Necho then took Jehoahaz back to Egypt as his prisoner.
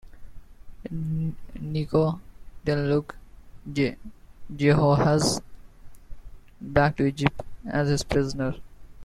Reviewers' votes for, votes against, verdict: 1, 2, rejected